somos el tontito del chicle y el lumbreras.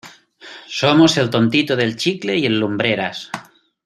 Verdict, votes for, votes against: accepted, 2, 0